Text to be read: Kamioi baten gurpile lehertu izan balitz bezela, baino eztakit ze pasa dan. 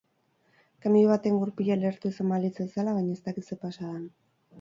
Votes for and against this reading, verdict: 4, 2, accepted